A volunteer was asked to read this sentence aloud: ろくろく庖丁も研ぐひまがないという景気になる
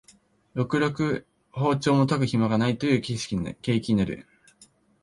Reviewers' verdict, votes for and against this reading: accepted, 7, 5